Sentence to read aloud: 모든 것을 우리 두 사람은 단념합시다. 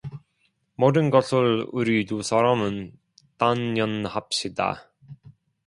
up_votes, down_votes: 0, 2